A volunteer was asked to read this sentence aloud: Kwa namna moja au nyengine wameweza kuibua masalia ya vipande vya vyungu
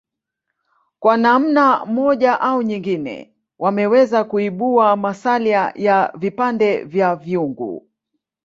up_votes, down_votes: 2, 0